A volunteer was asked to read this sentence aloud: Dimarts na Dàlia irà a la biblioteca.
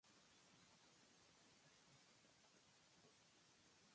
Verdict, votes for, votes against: rejected, 1, 2